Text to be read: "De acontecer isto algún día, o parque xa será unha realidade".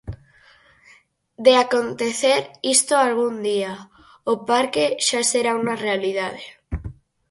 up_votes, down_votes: 4, 0